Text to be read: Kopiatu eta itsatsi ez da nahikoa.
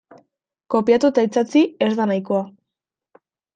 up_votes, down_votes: 2, 0